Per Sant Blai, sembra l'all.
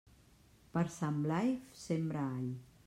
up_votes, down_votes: 1, 2